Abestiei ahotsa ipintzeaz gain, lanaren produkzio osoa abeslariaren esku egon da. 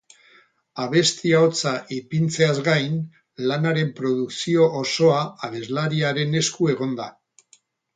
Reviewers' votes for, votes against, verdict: 2, 2, rejected